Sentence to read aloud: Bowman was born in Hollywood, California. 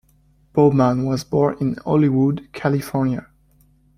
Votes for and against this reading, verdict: 2, 0, accepted